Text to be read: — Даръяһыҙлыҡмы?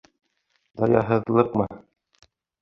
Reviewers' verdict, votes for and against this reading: rejected, 1, 2